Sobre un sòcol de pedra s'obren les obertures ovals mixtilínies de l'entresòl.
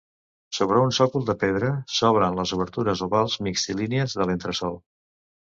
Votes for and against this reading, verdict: 2, 0, accepted